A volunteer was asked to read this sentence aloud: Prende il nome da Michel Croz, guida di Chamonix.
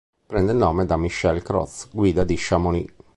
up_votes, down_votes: 2, 0